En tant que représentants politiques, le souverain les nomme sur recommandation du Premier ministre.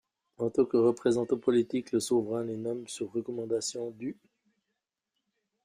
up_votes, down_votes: 0, 2